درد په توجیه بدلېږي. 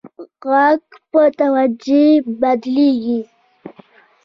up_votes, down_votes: 1, 2